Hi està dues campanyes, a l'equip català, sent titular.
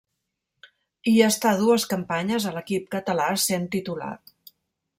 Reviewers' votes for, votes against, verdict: 2, 0, accepted